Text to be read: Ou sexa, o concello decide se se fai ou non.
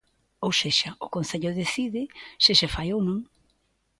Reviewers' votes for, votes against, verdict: 2, 0, accepted